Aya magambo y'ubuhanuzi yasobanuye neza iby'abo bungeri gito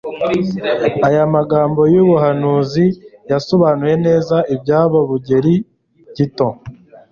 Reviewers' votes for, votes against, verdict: 0, 2, rejected